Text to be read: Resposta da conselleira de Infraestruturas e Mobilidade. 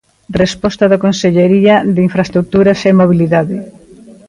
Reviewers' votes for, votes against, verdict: 0, 2, rejected